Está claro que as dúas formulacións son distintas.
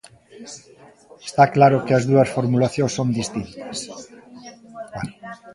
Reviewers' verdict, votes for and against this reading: rejected, 1, 2